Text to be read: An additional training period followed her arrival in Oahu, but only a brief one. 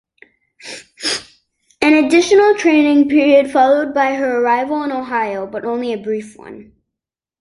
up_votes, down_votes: 1, 2